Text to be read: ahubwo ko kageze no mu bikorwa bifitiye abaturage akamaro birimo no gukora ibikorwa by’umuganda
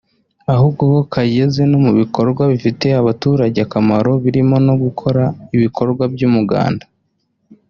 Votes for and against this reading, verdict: 0, 2, rejected